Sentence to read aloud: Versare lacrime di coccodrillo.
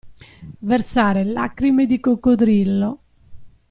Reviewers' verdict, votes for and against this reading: accepted, 2, 0